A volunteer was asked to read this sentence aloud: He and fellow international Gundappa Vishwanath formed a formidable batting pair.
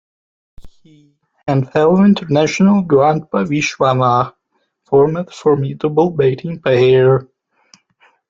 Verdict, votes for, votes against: rejected, 1, 2